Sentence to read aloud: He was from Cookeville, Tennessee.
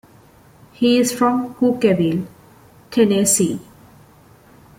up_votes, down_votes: 0, 2